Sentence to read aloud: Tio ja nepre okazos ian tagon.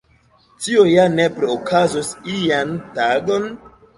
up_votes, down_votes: 1, 2